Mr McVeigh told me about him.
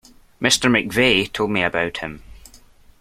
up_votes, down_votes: 2, 0